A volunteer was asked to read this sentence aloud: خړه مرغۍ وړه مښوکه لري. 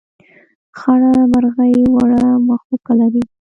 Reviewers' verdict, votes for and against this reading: accepted, 2, 0